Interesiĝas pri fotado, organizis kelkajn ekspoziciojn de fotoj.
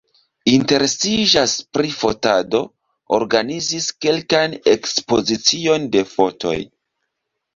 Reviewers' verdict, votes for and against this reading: accepted, 2, 1